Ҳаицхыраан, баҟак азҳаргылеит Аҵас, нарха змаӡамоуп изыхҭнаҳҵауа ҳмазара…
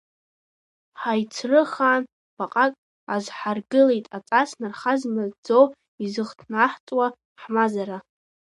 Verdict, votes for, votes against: rejected, 1, 2